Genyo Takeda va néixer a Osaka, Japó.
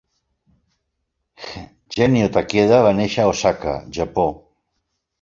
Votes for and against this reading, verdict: 0, 2, rejected